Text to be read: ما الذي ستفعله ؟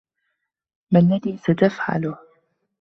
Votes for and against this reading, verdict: 2, 1, accepted